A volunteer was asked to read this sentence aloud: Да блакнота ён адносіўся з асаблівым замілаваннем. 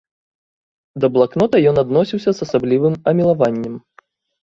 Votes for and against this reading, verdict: 0, 2, rejected